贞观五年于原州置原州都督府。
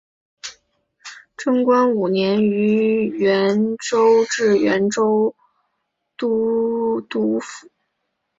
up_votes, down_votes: 2, 0